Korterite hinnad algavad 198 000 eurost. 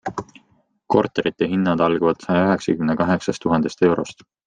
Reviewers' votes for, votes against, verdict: 0, 2, rejected